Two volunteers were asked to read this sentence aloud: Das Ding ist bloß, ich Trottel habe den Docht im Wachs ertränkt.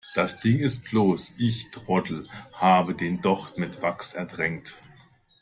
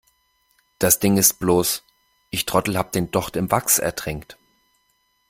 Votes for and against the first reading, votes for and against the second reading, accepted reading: 0, 2, 2, 0, second